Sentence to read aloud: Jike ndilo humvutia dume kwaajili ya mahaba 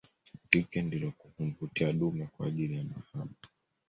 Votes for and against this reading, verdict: 2, 0, accepted